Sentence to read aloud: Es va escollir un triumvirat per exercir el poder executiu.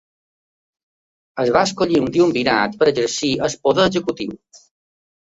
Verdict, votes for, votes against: rejected, 0, 2